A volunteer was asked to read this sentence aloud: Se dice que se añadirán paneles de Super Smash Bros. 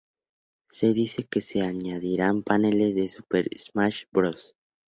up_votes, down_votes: 0, 2